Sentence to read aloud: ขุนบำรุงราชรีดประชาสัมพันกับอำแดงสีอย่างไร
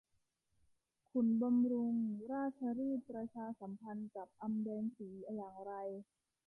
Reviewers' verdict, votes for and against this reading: rejected, 0, 2